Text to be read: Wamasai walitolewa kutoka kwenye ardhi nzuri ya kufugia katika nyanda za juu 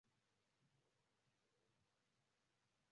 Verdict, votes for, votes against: rejected, 0, 2